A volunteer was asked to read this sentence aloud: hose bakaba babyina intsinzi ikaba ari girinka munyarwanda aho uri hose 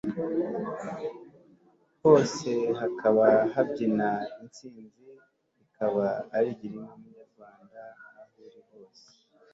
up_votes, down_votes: 0, 2